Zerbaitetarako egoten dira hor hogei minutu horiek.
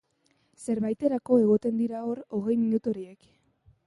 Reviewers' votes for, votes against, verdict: 2, 1, accepted